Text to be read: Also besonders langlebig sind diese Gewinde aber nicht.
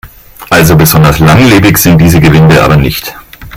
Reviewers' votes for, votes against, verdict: 1, 2, rejected